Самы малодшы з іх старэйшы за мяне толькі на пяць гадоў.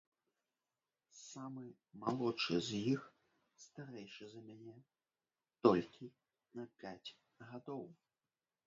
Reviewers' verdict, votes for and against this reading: rejected, 0, 2